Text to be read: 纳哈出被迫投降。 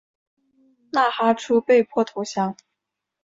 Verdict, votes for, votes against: accepted, 2, 0